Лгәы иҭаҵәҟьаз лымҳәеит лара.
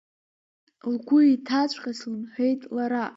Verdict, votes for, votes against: rejected, 0, 2